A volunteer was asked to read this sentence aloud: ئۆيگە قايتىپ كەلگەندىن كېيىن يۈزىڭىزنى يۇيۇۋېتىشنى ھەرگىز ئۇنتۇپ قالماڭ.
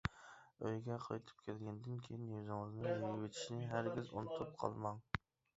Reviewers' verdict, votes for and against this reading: rejected, 1, 2